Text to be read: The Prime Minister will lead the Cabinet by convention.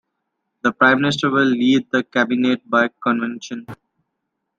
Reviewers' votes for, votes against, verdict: 2, 0, accepted